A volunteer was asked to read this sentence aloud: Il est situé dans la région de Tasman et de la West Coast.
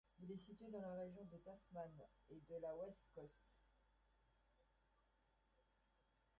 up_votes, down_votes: 1, 2